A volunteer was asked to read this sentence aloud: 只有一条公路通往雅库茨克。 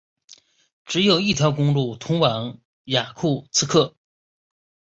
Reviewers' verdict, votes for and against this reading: accepted, 2, 0